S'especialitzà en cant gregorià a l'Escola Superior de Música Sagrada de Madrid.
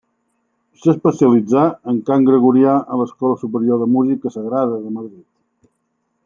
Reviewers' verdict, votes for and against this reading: rejected, 1, 2